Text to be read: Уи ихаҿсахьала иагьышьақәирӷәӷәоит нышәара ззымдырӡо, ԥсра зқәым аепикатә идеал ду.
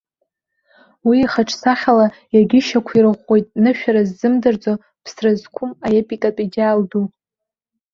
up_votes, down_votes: 2, 1